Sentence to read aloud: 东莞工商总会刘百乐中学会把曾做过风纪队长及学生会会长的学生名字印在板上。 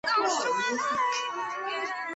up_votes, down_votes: 2, 1